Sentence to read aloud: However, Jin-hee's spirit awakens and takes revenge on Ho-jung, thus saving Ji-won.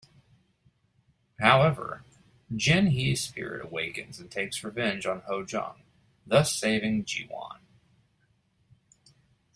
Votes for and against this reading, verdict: 2, 0, accepted